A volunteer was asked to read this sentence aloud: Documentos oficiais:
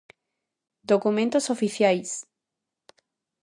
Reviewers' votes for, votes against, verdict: 2, 0, accepted